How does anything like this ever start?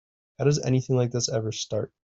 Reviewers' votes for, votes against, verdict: 3, 0, accepted